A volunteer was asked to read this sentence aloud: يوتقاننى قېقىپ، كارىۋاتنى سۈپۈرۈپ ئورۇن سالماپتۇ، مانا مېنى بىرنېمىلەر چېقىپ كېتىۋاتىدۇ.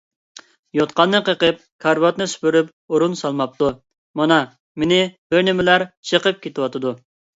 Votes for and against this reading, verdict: 2, 0, accepted